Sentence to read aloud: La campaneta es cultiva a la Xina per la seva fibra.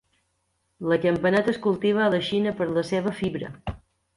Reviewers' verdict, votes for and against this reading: accepted, 2, 0